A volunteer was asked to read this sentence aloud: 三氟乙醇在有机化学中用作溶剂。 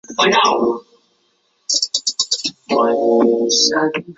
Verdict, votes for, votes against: rejected, 0, 2